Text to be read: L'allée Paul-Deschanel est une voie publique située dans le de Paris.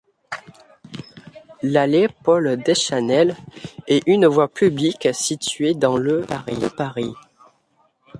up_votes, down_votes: 0, 2